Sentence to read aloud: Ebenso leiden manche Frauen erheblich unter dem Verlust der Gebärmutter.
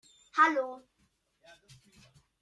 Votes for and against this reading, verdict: 0, 2, rejected